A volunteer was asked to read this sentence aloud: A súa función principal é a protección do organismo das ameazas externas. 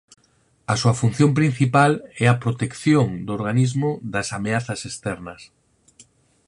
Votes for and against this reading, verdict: 4, 0, accepted